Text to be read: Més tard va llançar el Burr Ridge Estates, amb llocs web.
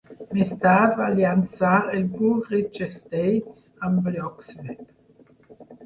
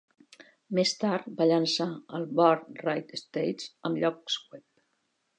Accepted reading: second